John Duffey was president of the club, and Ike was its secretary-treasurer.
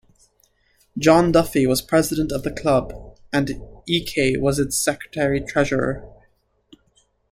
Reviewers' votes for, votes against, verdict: 1, 2, rejected